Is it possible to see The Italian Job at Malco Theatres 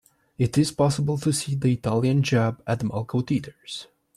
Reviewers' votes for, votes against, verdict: 1, 2, rejected